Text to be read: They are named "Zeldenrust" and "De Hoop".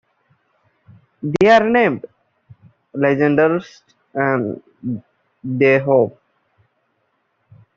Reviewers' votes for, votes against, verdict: 0, 2, rejected